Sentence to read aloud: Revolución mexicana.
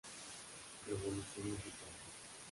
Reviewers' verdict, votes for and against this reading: rejected, 0, 3